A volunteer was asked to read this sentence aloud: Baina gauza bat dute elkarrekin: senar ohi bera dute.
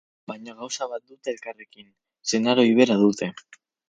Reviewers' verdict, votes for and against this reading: accepted, 4, 0